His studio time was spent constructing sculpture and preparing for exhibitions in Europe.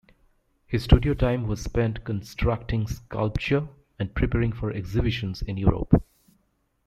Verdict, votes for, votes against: accepted, 2, 0